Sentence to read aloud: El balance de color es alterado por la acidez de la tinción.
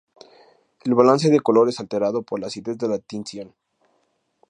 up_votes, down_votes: 4, 0